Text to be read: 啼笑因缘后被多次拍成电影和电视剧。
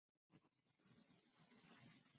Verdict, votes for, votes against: rejected, 0, 2